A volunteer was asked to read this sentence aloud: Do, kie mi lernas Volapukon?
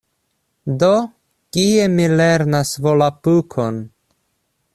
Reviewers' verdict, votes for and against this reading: accepted, 2, 0